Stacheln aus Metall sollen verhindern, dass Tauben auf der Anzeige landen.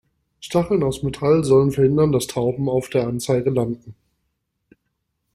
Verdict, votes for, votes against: accepted, 2, 0